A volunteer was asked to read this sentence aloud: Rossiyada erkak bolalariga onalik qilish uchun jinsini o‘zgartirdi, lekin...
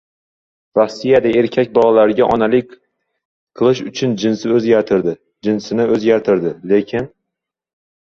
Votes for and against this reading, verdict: 0, 2, rejected